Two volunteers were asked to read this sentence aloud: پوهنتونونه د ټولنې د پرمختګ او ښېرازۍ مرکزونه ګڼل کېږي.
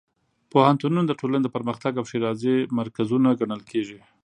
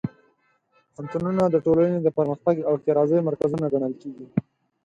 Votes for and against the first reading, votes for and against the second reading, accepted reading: 4, 0, 2, 4, first